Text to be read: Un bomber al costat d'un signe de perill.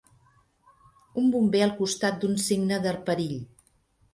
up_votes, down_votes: 1, 3